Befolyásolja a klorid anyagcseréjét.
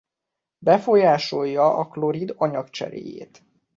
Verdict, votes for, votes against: accepted, 2, 0